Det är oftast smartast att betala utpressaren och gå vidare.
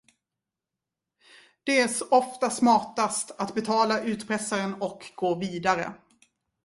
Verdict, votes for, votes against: rejected, 1, 2